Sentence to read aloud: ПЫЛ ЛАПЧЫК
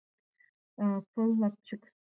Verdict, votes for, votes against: accepted, 2, 1